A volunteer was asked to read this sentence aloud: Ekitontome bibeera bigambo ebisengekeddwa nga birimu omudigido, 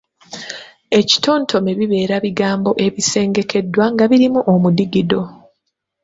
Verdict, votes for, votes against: accepted, 2, 0